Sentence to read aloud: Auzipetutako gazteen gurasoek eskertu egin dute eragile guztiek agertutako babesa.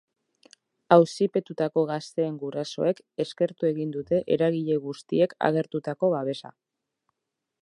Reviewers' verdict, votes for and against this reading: accepted, 2, 0